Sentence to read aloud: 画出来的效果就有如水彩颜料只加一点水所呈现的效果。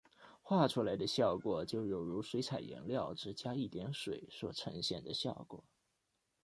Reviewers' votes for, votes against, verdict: 2, 0, accepted